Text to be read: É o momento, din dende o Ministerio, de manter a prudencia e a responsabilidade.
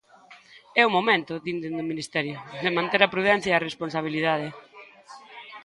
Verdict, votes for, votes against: rejected, 1, 2